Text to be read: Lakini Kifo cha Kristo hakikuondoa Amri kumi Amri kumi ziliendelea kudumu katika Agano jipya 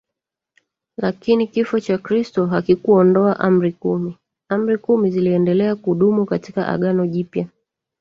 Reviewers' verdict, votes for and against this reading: rejected, 1, 2